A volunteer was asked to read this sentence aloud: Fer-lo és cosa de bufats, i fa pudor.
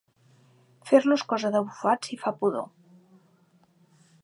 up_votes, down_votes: 3, 0